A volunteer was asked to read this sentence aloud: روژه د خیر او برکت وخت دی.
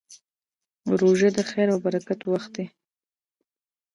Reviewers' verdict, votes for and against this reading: rejected, 1, 2